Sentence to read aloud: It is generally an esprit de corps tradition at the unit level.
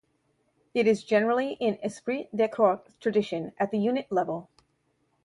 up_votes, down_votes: 0, 2